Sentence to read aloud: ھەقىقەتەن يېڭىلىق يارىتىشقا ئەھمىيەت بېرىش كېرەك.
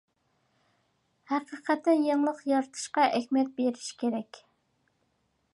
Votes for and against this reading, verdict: 2, 0, accepted